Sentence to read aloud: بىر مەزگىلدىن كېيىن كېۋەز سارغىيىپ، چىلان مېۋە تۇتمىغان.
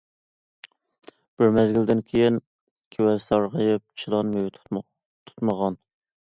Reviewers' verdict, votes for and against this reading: rejected, 0, 2